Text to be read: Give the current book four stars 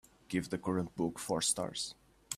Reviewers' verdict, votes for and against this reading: accepted, 2, 0